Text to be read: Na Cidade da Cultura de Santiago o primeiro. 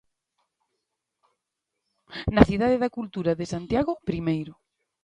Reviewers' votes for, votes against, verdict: 1, 2, rejected